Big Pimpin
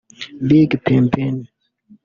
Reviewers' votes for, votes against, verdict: 0, 2, rejected